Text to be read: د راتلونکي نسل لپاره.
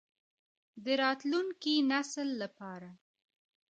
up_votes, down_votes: 2, 1